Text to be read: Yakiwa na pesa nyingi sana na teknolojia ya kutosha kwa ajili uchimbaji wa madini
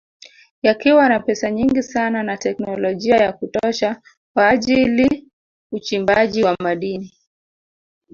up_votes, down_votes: 2, 0